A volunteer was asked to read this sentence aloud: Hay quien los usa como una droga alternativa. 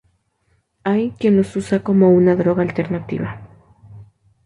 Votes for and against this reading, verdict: 2, 0, accepted